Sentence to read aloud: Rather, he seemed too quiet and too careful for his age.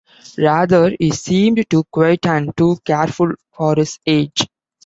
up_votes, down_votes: 0, 2